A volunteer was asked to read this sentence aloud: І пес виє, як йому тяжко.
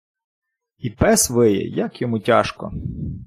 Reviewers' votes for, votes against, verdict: 0, 2, rejected